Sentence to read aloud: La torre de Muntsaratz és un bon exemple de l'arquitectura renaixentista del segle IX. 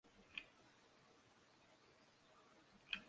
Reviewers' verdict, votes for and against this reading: rejected, 0, 2